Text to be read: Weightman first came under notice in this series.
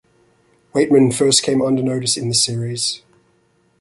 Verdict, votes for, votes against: accepted, 2, 0